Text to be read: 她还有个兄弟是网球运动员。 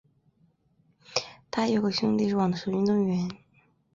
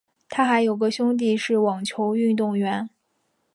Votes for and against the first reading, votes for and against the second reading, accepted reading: 8, 0, 2, 3, first